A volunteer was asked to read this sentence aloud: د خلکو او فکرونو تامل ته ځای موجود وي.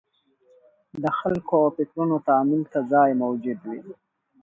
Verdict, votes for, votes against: rejected, 0, 2